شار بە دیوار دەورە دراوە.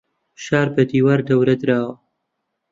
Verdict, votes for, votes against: accepted, 2, 0